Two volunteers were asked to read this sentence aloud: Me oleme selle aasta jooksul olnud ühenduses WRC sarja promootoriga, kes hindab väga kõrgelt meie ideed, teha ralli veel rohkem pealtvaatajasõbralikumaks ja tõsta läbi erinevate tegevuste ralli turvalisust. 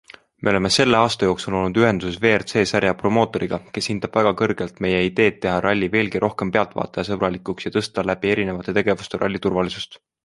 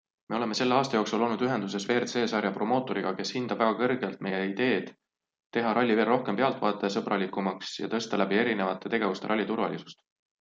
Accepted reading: second